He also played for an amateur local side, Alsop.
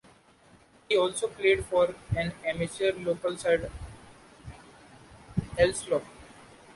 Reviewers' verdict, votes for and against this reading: rejected, 0, 2